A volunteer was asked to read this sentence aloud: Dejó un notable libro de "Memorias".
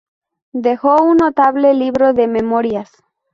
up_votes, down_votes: 2, 0